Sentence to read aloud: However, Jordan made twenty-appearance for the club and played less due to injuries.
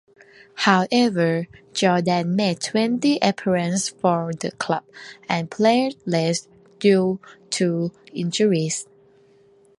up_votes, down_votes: 2, 0